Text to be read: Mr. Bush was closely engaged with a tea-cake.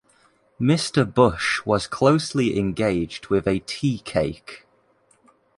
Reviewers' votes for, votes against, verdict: 2, 0, accepted